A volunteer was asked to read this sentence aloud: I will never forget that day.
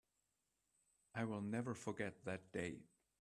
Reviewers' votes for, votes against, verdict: 2, 0, accepted